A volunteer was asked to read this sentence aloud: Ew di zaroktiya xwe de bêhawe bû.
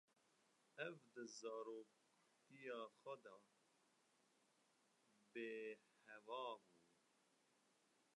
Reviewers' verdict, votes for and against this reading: rejected, 0, 2